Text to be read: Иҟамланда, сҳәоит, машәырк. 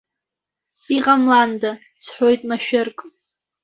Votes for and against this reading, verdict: 1, 2, rejected